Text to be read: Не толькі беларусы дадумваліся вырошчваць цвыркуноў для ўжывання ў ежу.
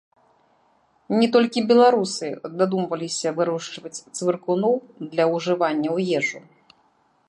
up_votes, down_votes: 2, 1